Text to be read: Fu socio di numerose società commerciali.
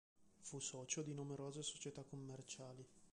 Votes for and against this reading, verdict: 0, 2, rejected